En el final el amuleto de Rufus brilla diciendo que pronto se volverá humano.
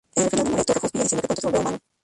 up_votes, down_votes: 0, 2